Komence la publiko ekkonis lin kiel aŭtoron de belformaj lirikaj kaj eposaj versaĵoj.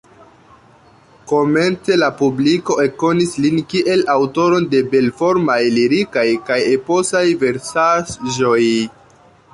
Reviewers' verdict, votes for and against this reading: accepted, 2, 1